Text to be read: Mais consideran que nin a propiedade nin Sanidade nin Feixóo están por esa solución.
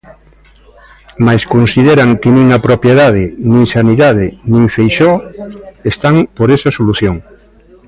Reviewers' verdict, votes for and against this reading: accepted, 2, 0